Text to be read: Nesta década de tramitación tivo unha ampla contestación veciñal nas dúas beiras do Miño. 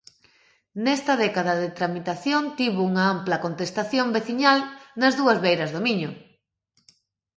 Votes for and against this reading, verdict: 2, 0, accepted